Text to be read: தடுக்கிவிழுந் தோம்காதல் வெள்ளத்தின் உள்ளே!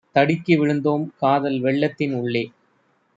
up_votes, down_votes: 2, 0